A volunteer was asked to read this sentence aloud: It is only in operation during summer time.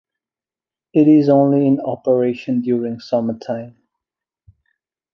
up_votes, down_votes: 3, 0